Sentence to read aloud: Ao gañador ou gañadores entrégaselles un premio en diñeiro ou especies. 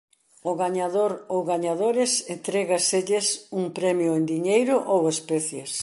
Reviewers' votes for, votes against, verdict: 2, 0, accepted